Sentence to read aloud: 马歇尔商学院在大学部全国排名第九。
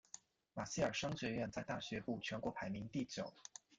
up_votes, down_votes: 2, 0